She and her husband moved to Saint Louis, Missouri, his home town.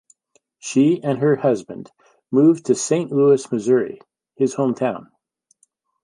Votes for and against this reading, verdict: 2, 0, accepted